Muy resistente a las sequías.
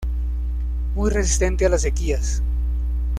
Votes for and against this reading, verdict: 2, 0, accepted